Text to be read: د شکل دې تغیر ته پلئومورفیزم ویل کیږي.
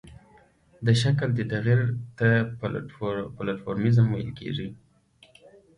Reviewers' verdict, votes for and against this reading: accepted, 3, 0